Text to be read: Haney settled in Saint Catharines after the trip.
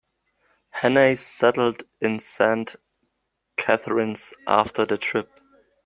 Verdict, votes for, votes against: rejected, 1, 2